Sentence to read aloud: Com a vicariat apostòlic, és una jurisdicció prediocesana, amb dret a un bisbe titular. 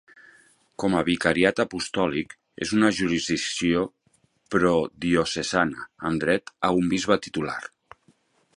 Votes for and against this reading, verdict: 0, 2, rejected